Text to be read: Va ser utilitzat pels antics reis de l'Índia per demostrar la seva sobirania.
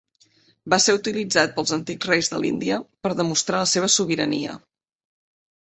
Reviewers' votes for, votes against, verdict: 2, 0, accepted